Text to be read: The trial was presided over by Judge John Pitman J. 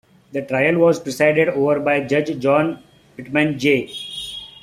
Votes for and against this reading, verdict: 2, 0, accepted